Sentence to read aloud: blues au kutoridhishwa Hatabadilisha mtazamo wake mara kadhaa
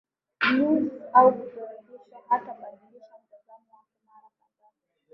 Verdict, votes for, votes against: rejected, 5, 8